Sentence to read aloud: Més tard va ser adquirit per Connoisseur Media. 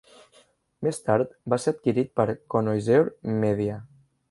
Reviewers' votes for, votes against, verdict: 0, 2, rejected